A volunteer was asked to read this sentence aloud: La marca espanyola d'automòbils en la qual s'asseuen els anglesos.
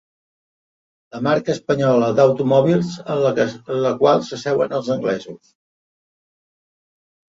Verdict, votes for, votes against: rejected, 0, 2